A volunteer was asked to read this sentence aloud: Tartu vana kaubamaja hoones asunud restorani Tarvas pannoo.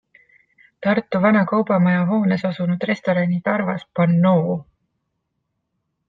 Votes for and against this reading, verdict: 2, 0, accepted